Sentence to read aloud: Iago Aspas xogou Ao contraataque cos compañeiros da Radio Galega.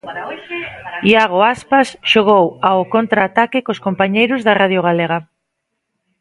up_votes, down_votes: 1, 2